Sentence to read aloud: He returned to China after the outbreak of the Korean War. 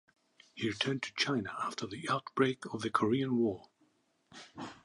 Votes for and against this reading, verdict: 2, 0, accepted